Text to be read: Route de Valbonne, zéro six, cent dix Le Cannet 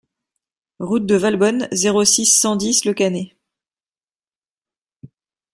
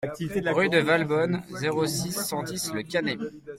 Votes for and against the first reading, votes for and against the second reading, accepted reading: 2, 0, 1, 2, first